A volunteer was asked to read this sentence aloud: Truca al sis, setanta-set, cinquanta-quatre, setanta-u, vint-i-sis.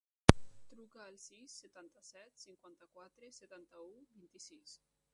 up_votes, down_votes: 0, 2